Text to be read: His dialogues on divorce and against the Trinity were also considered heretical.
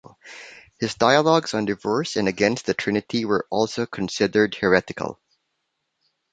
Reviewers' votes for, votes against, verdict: 2, 0, accepted